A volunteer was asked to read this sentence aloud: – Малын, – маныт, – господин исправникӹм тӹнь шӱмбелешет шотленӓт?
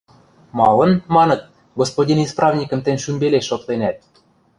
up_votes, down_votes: 1, 2